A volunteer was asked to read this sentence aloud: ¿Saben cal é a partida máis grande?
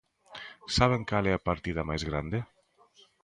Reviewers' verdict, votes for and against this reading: accepted, 2, 1